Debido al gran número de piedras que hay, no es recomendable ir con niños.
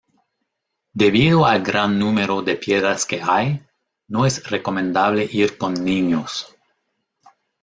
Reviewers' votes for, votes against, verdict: 0, 2, rejected